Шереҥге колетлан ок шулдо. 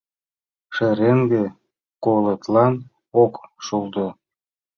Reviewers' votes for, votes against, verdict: 0, 2, rejected